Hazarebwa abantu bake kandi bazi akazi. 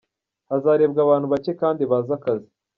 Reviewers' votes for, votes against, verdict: 2, 0, accepted